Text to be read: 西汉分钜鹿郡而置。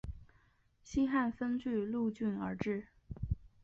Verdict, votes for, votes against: rejected, 2, 2